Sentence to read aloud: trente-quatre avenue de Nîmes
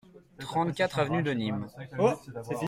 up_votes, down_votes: 1, 2